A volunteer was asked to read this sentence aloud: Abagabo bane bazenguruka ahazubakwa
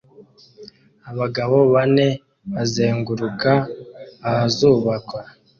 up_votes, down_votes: 2, 0